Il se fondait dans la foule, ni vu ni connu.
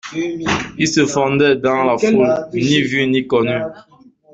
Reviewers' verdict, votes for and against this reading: rejected, 0, 2